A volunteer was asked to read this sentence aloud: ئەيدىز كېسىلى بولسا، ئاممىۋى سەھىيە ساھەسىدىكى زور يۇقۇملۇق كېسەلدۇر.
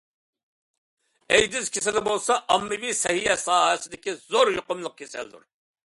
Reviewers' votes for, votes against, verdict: 2, 0, accepted